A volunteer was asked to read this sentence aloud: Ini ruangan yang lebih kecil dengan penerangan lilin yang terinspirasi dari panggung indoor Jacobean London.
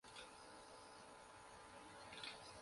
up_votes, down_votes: 0, 2